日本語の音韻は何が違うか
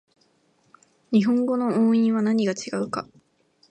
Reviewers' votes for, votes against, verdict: 2, 0, accepted